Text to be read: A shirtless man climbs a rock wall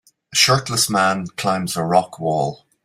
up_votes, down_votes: 2, 0